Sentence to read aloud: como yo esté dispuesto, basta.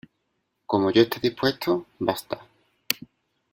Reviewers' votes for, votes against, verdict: 2, 0, accepted